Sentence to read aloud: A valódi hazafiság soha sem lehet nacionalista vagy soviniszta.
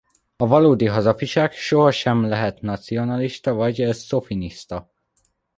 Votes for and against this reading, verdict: 0, 2, rejected